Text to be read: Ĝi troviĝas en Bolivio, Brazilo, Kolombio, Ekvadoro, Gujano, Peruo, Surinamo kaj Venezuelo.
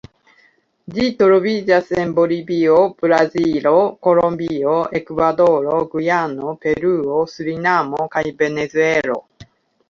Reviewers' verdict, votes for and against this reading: rejected, 0, 2